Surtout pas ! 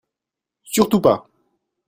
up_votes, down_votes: 2, 0